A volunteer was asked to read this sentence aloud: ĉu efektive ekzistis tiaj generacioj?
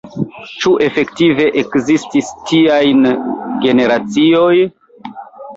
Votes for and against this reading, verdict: 1, 3, rejected